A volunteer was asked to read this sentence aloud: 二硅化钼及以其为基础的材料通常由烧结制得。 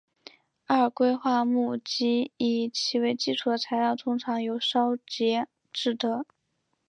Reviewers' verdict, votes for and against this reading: accepted, 3, 2